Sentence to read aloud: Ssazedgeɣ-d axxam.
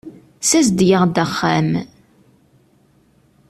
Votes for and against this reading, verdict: 2, 0, accepted